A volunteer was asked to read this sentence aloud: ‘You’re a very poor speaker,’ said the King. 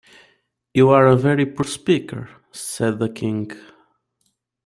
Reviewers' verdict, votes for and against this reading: accepted, 2, 0